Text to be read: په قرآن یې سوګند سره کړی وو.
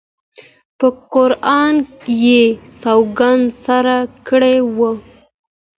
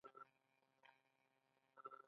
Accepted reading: first